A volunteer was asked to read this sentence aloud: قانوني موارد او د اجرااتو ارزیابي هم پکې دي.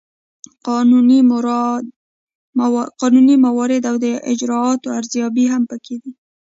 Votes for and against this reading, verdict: 1, 2, rejected